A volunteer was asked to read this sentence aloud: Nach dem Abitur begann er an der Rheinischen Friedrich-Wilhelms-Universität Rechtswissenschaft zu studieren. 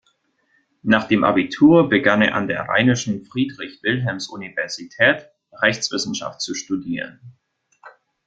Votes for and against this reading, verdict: 2, 0, accepted